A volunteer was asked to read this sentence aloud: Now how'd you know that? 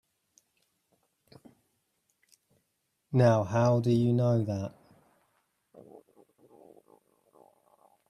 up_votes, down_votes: 0, 2